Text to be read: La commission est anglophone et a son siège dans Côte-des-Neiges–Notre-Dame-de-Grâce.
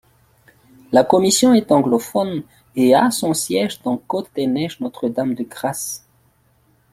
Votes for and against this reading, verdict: 2, 4, rejected